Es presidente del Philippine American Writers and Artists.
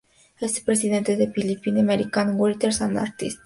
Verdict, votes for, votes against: rejected, 0, 2